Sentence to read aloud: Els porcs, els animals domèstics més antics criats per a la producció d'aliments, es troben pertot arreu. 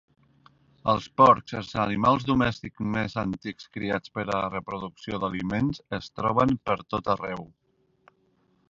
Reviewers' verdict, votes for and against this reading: accepted, 2, 1